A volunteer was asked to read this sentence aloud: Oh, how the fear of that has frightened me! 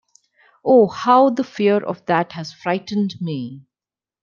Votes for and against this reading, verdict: 2, 0, accepted